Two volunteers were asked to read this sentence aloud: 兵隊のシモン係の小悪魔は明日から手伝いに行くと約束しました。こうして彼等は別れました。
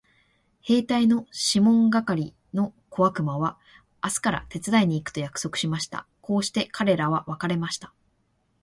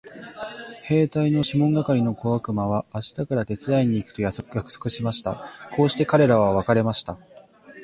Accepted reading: first